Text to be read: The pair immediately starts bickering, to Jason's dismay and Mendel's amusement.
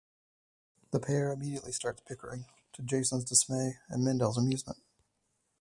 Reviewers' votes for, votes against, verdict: 2, 4, rejected